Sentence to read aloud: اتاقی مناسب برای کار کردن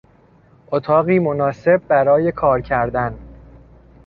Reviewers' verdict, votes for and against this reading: accepted, 2, 0